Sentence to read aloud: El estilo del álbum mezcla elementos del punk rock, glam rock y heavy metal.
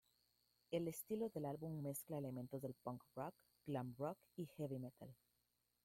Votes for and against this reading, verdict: 2, 1, accepted